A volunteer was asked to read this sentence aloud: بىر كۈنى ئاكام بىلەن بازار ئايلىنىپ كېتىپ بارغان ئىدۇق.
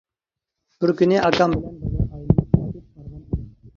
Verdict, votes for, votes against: rejected, 0, 2